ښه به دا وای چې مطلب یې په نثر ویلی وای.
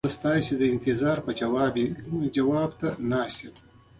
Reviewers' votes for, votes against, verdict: 1, 2, rejected